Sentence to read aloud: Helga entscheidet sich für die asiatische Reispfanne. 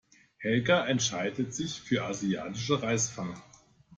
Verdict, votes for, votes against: rejected, 1, 2